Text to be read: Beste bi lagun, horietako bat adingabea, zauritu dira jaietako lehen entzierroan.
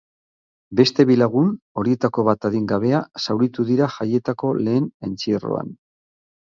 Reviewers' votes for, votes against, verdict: 6, 0, accepted